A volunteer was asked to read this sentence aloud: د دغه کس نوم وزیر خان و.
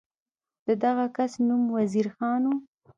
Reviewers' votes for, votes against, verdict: 2, 0, accepted